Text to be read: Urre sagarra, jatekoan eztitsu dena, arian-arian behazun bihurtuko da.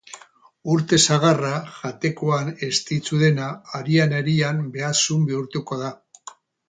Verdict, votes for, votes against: rejected, 0, 8